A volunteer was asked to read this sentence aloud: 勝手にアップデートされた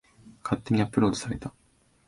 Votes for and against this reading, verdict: 1, 2, rejected